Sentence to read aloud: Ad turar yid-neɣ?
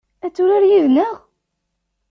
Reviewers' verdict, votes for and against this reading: accepted, 2, 0